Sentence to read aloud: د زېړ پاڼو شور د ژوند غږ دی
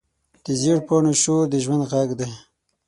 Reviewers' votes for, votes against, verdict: 6, 0, accepted